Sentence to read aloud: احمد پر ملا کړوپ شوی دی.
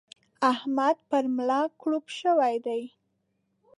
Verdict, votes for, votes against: accepted, 2, 0